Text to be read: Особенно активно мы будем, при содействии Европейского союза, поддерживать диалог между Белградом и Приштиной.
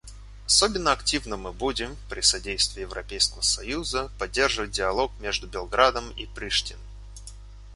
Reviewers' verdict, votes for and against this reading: rejected, 0, 2